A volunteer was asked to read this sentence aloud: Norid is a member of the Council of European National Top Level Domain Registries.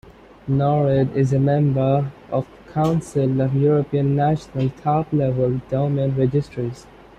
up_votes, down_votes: 0, 2